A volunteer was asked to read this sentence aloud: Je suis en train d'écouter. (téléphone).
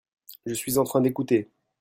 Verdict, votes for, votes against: rejected, 0, 2